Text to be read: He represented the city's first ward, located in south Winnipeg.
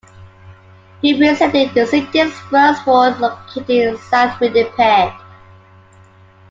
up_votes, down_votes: 2, 1